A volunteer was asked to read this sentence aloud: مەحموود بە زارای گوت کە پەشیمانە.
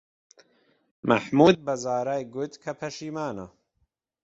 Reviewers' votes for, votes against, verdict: 2, 0, accepted